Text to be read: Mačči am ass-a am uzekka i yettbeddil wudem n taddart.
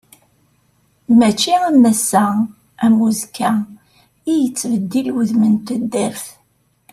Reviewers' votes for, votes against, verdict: 3, 0, accepted